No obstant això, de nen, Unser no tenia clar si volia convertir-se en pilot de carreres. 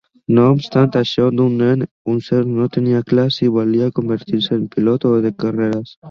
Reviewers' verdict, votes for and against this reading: rejected, 0, 2